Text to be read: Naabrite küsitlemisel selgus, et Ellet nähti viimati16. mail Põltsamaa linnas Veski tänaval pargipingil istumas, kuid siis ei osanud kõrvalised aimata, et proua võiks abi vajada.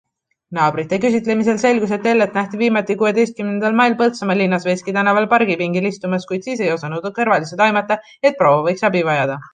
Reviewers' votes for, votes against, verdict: 0, 2, rejected